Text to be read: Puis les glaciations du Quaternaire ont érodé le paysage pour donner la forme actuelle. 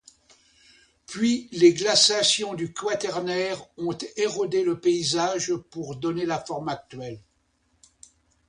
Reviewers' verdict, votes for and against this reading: accepted, 2, 0